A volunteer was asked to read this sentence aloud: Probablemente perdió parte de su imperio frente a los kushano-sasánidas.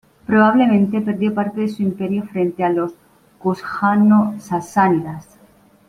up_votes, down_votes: 0, 2